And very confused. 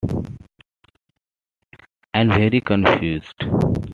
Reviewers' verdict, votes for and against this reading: accepted, 2, 0